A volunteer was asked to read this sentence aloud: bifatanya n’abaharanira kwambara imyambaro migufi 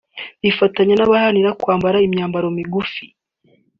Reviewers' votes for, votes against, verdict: 2, 1, accepted